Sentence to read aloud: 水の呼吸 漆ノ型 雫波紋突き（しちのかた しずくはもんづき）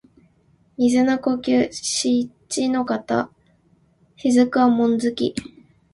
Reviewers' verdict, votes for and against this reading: accepted, 3, 0